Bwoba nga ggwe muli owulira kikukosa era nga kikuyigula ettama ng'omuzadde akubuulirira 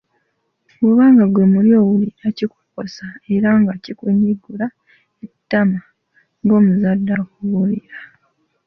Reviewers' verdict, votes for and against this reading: rejected, 0, 3